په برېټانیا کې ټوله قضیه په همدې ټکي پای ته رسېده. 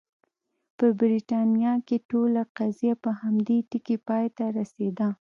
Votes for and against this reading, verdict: 2, 0, accepted